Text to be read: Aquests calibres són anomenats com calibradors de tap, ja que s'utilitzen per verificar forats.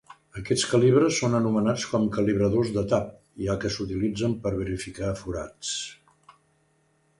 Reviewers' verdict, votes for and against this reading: accepted, 2, 1